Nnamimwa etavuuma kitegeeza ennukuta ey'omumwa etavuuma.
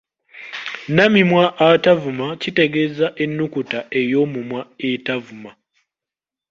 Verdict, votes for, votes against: rejected, 0, 2